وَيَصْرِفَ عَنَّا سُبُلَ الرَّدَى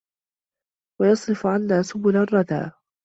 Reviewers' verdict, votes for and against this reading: accepted, 2, 0